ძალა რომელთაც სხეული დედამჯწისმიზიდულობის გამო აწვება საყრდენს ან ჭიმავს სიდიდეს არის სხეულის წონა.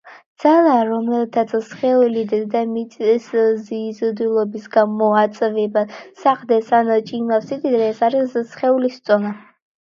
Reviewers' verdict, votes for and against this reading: rejected, 1, 2